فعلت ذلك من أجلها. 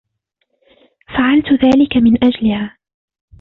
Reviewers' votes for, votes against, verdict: 2, 1, accepted